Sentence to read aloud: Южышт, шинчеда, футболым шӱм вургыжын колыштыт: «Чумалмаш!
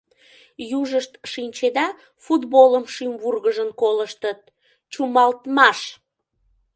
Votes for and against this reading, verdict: 0, 2, rejected